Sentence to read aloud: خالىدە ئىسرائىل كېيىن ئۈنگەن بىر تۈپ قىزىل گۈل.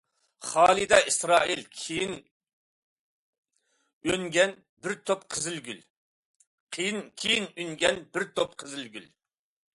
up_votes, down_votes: 2, 0